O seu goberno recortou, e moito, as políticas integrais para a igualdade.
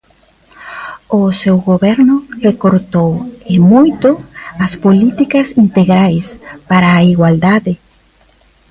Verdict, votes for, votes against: accepted, 2, 0